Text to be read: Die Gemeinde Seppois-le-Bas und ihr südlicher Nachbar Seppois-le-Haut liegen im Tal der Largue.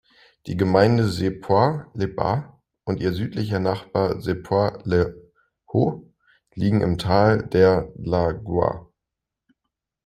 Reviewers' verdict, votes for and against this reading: rejected, 0, 2